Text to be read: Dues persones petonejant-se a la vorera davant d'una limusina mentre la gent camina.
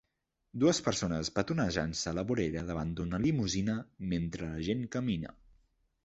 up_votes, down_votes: 3, 0